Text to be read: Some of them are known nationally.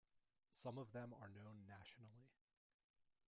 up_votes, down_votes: 1, 2